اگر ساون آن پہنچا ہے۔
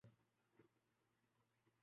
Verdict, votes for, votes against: rejected, 0, 3